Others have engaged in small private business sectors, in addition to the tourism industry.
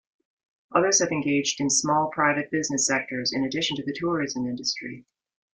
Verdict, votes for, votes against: accepted, 2, 0